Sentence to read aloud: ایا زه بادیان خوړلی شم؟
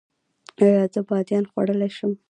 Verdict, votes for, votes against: accepted, 2, 1